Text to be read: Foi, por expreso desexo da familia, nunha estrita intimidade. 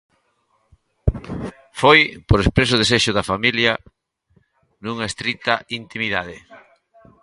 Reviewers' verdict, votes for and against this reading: accepted, 2, 0